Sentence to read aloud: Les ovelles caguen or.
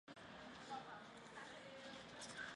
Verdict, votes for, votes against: rejected, 0, 2